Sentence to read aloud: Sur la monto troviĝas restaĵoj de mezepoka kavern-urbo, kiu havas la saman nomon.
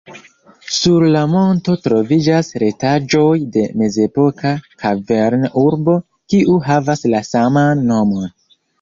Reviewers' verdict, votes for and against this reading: rejected, 1, 2